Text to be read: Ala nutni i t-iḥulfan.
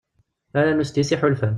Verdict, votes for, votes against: rejected, 1, 2